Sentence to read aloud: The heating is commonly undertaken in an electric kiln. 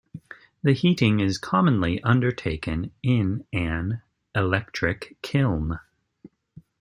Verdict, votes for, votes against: accepted, 2, 0